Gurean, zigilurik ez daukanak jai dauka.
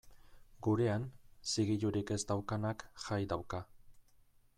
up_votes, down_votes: 2, 0